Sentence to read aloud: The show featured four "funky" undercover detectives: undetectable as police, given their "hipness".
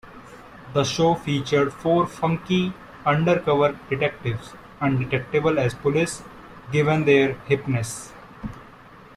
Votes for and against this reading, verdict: 2, 0, accepted